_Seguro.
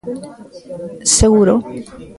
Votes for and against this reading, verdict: 0, 2, rejected